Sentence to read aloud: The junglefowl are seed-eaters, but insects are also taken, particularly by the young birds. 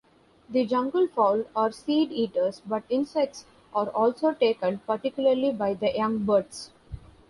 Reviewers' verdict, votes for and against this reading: accepted, 2, 0